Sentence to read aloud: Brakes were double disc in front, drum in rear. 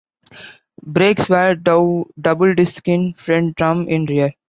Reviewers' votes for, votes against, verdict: 0, 2, rejected